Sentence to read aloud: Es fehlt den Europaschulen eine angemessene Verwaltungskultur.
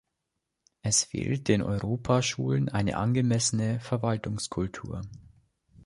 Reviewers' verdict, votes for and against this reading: accepted, 2, 0